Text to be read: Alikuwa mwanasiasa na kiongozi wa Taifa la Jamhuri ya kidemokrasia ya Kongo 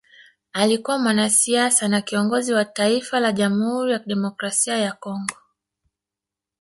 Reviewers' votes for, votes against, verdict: 1, 2, rejected